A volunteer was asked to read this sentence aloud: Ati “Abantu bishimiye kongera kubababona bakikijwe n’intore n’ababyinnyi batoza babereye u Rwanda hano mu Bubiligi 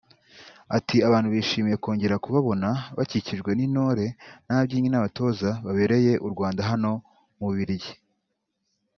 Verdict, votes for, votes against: accepted, 2, 0